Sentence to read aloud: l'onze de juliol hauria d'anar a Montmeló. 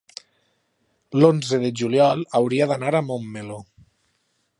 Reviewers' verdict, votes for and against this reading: accepted, 3, 0